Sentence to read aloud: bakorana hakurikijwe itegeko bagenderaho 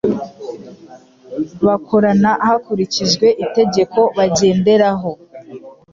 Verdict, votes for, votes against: accepted, 2, 0